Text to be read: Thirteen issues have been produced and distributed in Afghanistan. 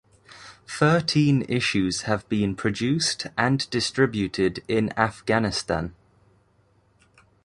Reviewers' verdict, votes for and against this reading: accepted, 2, 0